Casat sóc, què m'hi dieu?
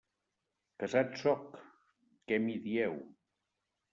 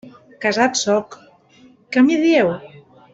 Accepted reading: first